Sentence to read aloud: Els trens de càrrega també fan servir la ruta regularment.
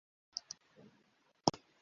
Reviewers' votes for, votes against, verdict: 0, 2, rejected